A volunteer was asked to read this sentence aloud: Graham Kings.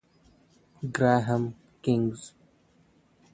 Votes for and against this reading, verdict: 1, 2, rejected